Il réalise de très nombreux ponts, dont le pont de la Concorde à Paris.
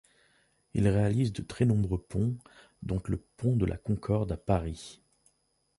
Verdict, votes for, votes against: rejected, 0, 2